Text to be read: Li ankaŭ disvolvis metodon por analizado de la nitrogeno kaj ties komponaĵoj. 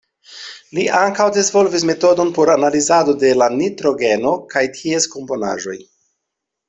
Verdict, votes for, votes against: accepted, 2, 0